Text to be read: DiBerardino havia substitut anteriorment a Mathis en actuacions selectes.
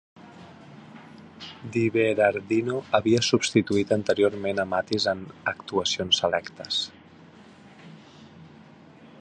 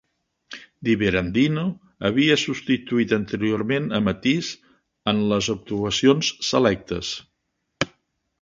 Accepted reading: first